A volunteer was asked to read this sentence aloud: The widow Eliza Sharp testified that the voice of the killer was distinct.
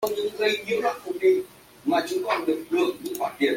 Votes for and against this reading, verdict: 0, 2, rejected